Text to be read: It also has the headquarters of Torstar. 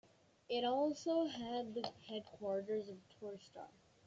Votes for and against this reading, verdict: 2, 0, accepted